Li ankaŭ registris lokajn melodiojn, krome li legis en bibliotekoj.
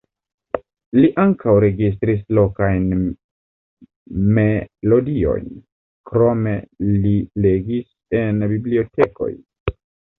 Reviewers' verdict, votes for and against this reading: rejected, 1, 2